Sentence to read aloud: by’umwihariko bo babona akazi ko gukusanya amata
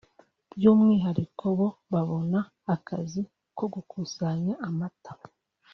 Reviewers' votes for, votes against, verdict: 2, 0, accepted